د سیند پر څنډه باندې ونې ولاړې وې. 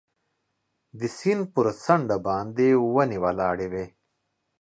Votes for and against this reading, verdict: 2, 0, accepted